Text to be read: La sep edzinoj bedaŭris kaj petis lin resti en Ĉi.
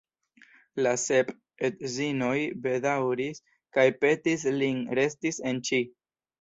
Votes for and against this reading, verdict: 3, 0, accepted